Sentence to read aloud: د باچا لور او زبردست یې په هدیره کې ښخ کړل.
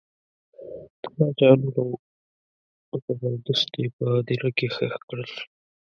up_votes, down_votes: 2, 3